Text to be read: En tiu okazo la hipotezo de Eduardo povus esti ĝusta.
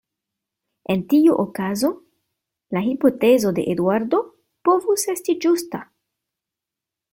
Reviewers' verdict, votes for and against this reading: accepted, 2, 0